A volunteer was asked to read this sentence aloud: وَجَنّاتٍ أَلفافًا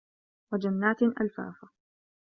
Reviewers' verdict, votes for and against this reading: accepted, 2, 0